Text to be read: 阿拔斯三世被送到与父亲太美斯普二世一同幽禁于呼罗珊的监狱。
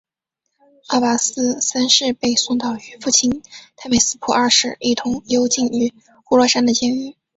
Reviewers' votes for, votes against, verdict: 2, 0, accepted